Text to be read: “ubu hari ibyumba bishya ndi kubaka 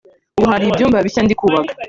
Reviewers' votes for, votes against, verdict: 1, 2, rejected